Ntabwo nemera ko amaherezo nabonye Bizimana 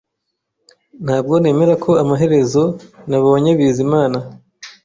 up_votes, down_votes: 2, 0